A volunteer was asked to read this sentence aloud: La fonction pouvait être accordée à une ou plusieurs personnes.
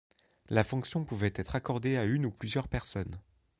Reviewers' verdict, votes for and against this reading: accepted, 2, 0